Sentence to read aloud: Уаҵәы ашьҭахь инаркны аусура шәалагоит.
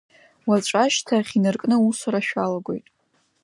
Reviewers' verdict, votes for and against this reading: accepted, 2, 1